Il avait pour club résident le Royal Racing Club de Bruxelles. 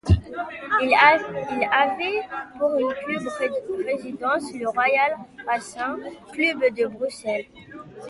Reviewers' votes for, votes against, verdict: 1, 2, rejected